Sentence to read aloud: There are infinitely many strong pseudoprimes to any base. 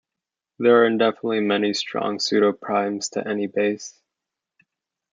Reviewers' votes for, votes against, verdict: 1, 2, rejected